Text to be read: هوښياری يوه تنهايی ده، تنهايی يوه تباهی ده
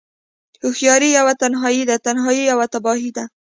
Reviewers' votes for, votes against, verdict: 2, 0, accepted